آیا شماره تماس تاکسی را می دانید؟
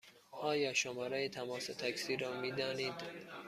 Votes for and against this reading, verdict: 2, 0, accepted